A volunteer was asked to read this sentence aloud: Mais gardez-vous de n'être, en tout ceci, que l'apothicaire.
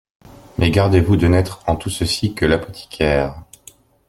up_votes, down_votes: 2, 0